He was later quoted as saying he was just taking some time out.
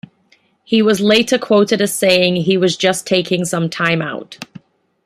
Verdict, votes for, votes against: accepted, 2, 0